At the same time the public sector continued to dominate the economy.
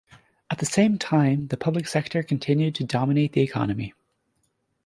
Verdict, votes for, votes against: accepted, 2, 0